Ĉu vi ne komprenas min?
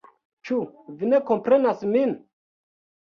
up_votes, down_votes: 2, 0